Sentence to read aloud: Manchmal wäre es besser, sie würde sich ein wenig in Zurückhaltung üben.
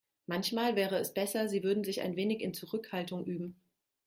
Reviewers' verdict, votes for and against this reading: rejected, 0, 2